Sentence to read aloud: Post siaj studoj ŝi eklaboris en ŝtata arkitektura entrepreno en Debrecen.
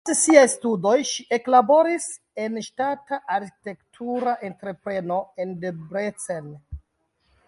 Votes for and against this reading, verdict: 0, 2, rejected